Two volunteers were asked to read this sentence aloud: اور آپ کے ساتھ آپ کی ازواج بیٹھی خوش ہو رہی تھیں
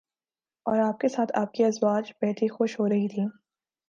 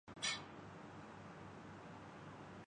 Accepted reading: first